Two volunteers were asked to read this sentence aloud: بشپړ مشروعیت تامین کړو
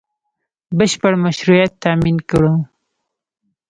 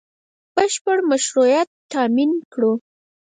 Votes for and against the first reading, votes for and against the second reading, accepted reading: 0, 2, 4, 0, second